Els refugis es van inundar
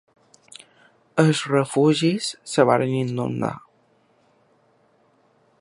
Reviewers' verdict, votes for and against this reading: rejected, 1, 2